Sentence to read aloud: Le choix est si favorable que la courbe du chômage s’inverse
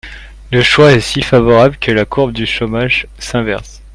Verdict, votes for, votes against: accepted, 2, 0